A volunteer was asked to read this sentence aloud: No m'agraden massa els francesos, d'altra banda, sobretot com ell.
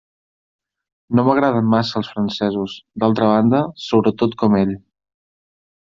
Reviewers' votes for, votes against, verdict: 3, 0, accepted